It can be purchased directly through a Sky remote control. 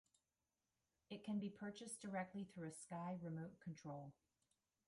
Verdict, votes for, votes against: accepted, 2, 0